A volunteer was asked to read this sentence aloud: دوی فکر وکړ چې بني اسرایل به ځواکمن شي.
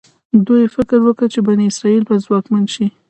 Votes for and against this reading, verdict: 2, 0, accepted